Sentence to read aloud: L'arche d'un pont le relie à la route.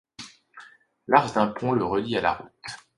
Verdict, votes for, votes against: accepted, 2, 1